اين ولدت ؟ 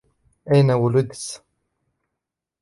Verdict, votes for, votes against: rejected, 1, 2